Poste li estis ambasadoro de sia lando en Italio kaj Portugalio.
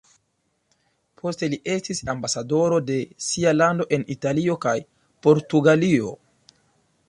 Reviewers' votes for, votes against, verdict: 2, 0, accepted